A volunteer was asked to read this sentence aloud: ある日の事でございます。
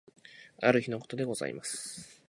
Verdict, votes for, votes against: rejected, 2, 2